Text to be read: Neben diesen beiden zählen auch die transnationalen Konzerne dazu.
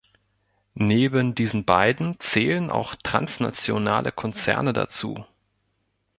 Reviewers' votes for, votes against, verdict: 0, 2, rejected